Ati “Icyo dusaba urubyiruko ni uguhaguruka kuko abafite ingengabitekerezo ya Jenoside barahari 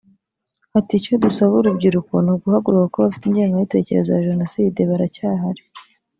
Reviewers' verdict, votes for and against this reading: rejected, 1, 4